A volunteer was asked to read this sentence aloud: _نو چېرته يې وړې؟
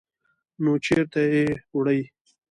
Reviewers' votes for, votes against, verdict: 2, 0, accepted